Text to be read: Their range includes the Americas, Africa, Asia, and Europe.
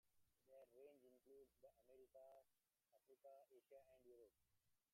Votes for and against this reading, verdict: 0, 2, rejected